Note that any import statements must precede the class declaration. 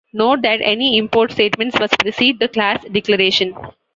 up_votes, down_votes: 2, 1